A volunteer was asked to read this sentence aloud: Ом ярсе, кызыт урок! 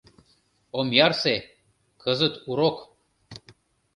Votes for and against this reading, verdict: 2, 0, accepted